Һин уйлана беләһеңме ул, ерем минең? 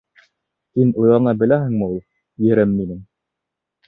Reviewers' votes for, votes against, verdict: 2, 0, accepted